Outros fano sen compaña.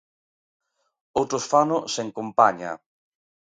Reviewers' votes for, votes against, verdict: 2, 0, accepted